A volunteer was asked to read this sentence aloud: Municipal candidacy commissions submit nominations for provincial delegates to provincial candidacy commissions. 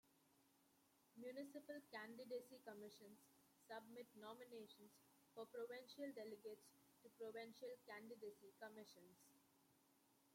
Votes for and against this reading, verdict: 0, 2, rejected